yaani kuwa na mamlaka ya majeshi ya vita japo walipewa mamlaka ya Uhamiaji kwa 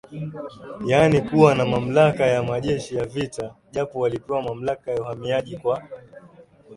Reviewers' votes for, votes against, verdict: 9, 0, accepted